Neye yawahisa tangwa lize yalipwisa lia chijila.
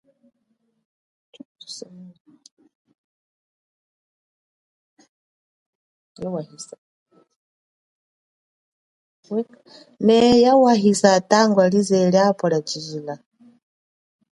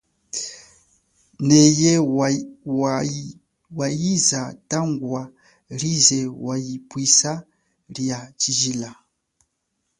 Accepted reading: second